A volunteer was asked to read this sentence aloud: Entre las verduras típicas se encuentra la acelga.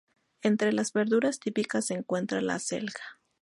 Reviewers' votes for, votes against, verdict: 2, 0, accepted